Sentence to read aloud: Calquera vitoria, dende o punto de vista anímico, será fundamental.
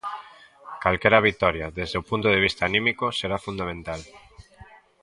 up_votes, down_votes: 1, 2